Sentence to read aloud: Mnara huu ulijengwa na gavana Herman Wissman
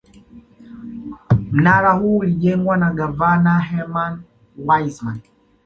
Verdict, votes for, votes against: accepted, 2, 0